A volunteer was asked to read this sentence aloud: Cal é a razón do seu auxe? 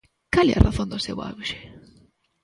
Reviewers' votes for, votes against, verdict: 1, 2, rejected